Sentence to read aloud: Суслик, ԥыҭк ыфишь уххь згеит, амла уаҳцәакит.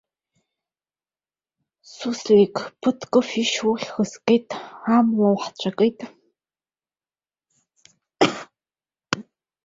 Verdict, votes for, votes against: accepted, 2, 1